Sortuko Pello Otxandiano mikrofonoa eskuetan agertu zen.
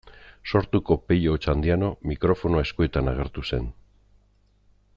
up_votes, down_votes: 2, 0